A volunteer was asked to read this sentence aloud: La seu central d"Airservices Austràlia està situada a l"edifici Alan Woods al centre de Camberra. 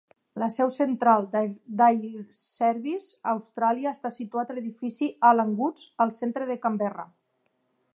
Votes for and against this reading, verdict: 0, 2, rejected